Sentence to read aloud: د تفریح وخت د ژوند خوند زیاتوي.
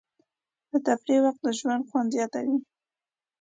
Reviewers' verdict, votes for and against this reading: accepted, 2, 0